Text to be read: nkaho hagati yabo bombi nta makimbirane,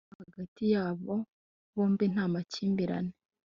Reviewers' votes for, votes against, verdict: 1, 2, rejected